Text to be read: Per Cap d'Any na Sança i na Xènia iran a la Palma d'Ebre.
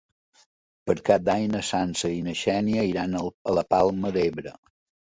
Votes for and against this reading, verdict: 1, 2, rejected